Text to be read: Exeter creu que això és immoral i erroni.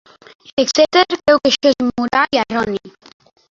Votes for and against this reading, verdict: 0, 2, rejected